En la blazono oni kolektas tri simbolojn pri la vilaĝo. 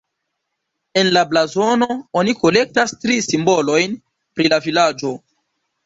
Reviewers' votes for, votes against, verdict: 3, 2, accepted